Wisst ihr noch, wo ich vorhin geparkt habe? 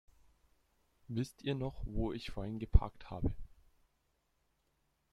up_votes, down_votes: 1, 2